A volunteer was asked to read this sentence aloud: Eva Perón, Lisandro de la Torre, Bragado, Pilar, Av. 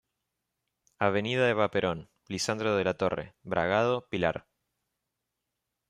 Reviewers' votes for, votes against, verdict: 0, 2, rejected